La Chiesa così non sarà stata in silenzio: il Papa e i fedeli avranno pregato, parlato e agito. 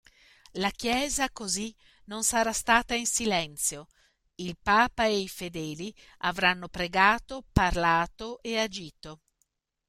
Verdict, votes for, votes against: accepted, 2, 0